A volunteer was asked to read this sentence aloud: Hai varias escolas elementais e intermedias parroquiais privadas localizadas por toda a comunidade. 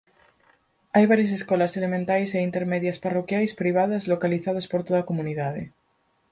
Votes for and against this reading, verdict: 4, 0, accepted